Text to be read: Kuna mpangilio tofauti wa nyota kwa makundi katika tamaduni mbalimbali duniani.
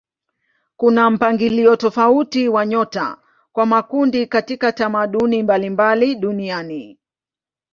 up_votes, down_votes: 2, 0